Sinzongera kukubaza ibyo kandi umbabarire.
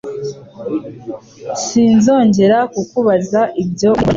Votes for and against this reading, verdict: 0, 2, rejected